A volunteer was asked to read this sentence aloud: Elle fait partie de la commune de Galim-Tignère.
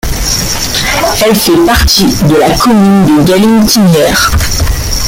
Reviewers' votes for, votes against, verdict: 0, 2, rejected